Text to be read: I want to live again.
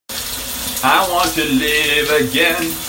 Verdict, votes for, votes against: rejected, 0, 2